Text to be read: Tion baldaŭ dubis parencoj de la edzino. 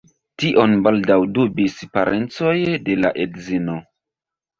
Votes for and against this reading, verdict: 1, 2, rejected